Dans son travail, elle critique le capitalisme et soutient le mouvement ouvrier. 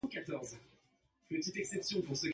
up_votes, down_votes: 0, 2